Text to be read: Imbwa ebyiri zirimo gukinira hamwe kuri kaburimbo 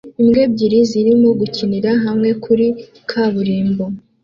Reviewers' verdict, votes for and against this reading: accepted, 2, 0